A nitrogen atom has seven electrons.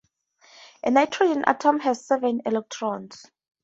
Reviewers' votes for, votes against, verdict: 4, 0, accepted